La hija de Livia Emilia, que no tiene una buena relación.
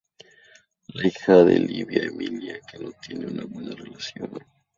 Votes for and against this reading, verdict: 0, 2, rejected